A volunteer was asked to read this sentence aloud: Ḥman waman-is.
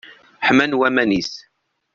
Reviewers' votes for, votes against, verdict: 2, 0, accepted